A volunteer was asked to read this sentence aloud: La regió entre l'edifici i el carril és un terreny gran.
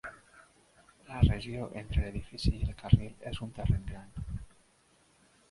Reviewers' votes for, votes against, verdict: 2, 3, rejected